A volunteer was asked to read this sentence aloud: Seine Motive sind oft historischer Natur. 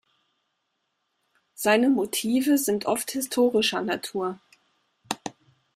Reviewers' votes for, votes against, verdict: 2, 0, accepted